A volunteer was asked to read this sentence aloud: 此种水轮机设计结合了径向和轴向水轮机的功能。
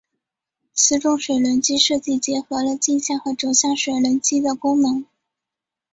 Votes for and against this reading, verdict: 2, 1, accepted